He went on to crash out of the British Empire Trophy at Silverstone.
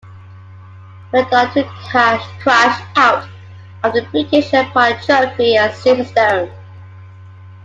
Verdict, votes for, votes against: rejected, 0, 2